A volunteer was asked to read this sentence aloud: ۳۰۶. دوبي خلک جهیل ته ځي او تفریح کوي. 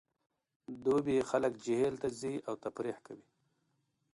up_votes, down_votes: 0, 2